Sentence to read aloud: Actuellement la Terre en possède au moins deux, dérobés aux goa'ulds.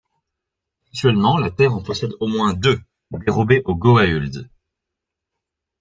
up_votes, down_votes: 2, 0